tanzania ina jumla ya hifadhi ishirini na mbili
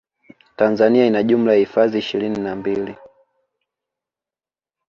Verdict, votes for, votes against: accepted, 2, 0